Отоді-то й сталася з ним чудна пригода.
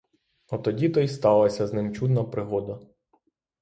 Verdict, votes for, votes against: accepted, 3, 0